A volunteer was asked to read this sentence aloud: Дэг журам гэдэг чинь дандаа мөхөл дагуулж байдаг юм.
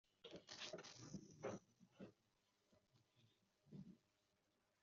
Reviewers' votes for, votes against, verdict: 0, 2, rejected